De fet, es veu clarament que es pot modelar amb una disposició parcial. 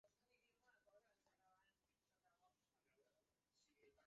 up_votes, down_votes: 0, 2